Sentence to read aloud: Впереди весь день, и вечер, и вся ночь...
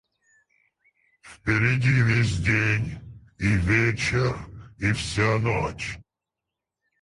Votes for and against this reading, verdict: 2, 4, rejected